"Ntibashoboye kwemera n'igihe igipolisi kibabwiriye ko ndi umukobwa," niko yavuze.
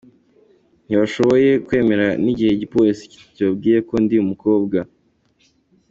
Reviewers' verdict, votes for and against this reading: rejected, 0, 2